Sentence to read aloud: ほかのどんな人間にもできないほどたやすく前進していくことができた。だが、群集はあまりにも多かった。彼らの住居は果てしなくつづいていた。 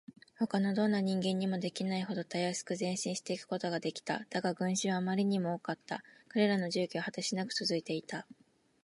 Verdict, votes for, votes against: accepted, 2, 0